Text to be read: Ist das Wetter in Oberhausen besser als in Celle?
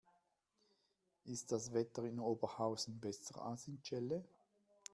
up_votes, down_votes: 0, 2